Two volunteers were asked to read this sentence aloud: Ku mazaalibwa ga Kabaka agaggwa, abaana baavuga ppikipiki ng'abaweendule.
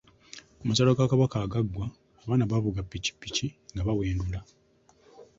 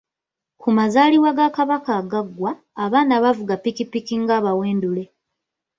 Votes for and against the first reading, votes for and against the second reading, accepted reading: 0, 2, 2, 0, second